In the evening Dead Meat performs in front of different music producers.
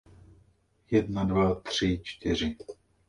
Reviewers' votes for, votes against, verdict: 0, 2, rejected